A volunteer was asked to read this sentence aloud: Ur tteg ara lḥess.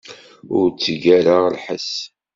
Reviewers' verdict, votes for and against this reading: accepted, 2, 0